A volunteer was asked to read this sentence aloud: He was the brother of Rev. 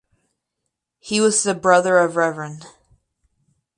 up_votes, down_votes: 0, 4